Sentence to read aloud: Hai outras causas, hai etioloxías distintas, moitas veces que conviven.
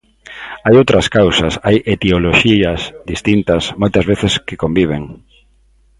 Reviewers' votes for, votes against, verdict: 2, 0, accepted